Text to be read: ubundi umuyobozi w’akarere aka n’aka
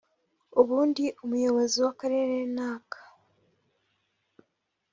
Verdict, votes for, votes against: rejected, 0, 2